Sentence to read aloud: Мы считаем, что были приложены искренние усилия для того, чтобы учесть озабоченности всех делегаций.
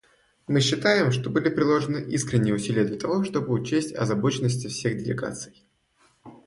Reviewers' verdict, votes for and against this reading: accepted, 2, 0